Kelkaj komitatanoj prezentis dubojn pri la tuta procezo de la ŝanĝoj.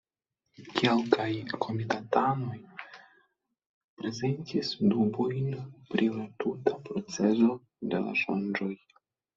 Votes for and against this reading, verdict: 0, 2, rejected